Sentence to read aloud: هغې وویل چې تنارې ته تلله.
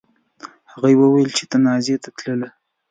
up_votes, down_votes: 1, 2